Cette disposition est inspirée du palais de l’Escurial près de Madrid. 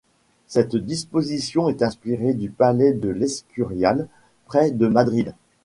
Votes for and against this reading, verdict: 2, 0, accepted